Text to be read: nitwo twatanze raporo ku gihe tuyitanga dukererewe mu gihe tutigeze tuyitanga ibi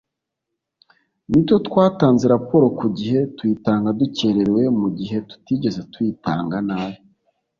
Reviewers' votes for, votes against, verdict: 1, 2, rejected